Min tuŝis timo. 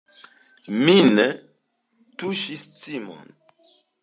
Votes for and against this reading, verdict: 1, 2, rejected